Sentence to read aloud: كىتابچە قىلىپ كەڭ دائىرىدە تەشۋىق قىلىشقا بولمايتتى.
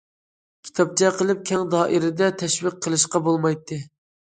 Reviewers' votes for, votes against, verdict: 2, 0, accepted